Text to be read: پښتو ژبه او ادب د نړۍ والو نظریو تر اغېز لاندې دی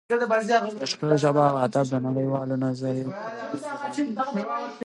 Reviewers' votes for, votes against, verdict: 1, 2, rejected